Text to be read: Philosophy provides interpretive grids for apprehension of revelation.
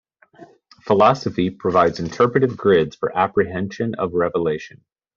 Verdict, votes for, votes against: accepted, 2, 0